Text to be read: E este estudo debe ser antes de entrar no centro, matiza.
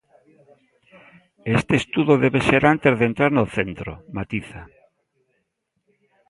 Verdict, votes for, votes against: accepted, 2, 0